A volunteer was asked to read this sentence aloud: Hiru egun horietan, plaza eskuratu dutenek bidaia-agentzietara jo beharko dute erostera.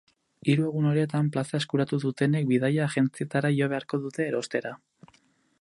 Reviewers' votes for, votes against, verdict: 4, 0, accepted